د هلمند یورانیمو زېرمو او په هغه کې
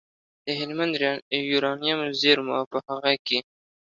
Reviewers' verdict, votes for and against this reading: accepted, 2, 0